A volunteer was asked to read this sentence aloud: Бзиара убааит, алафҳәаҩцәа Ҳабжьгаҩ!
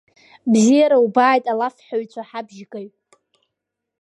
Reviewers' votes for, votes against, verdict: 2, 0, accepted